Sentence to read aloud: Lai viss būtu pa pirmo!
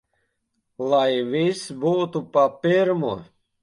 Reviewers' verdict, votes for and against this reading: accepted, 2, 0